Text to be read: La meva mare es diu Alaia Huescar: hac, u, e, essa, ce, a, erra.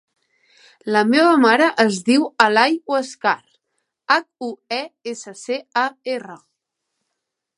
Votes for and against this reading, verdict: 0, 2, rejected